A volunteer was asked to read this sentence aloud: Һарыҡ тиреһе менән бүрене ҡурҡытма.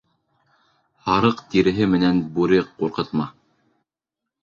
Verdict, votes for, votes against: rejected, 1, 2